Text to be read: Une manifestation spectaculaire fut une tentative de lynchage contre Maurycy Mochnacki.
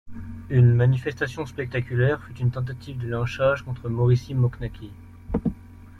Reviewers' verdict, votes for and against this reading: rejected, 0, 2